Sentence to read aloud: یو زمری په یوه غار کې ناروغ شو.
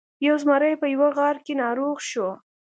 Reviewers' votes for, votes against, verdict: 2, 0, accepted